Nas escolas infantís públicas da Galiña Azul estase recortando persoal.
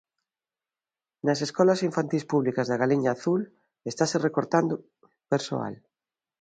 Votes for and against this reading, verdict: 2, 0, accepted